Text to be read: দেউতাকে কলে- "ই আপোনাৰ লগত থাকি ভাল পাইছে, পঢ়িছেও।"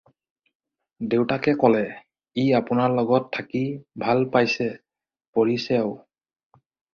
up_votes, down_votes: 4, 0